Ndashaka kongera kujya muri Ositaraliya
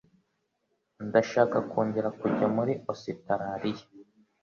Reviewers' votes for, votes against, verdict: 2, 0, accepted